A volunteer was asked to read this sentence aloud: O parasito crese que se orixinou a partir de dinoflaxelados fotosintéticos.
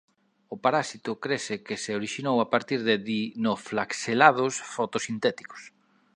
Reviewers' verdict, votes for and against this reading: rejected, 0, 2